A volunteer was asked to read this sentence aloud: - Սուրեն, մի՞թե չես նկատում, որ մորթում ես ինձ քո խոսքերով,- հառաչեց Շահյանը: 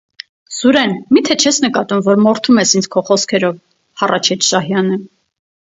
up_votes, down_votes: 4, 0